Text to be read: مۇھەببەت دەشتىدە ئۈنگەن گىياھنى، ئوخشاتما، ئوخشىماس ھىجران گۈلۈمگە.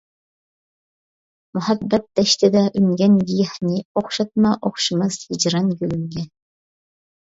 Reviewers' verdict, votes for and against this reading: accepted, 2, 0